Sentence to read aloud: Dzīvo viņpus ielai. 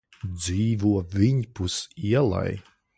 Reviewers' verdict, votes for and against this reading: rejected, 1, 2